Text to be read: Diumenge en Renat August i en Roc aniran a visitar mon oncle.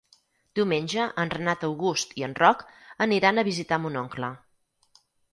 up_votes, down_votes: 6, 0